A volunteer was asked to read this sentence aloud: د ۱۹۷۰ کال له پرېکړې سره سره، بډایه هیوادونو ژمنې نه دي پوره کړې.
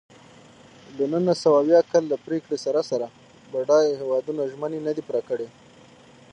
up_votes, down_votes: 0, 2